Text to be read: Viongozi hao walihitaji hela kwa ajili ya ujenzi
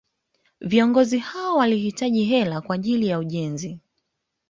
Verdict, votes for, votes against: accepted, 2, 1